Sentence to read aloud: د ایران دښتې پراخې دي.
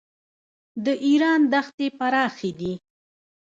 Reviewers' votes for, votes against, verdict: 1, 2, rejected